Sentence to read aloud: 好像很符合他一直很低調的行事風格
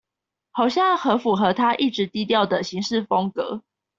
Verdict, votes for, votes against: rejected, 0, 2